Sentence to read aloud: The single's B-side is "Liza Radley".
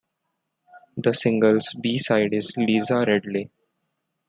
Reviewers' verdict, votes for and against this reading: accepted, 2, 0